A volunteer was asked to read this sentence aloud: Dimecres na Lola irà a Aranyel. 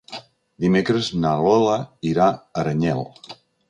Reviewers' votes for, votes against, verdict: 4, 0, accepted